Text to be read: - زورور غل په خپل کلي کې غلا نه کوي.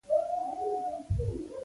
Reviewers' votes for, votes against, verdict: 0, 2, rejected